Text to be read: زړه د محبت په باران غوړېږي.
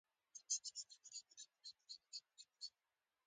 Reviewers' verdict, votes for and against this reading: rejected, 0, 2